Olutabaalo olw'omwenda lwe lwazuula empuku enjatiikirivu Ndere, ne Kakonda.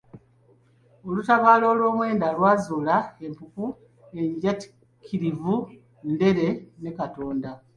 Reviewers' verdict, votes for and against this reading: accepted, 2, 0